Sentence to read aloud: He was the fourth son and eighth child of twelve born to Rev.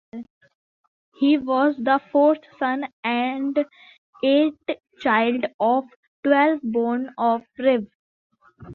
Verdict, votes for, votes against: rejected, 0, 2